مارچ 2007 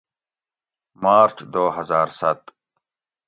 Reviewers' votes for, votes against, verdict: 0, 2, rejected